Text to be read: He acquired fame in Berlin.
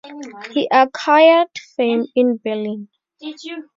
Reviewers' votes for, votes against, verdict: 0, 2, rejected